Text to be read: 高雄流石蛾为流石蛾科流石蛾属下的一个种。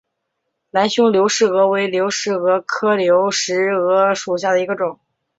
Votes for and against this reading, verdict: 0, 2, rejected